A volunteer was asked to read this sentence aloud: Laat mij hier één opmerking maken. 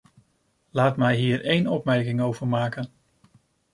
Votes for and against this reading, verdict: 0, 2, rejected